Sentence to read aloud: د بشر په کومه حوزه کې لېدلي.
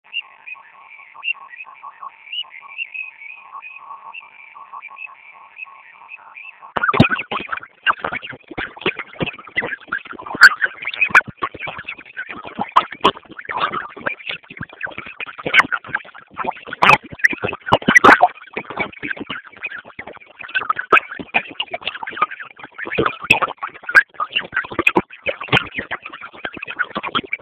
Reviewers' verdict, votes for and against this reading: rejected, 0, 2